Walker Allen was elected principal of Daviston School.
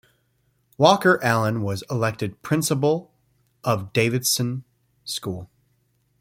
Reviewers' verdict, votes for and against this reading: rejected, 0, 2